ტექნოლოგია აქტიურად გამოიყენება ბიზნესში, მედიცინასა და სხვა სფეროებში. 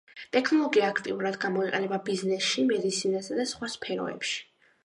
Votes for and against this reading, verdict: 1, 2, rejected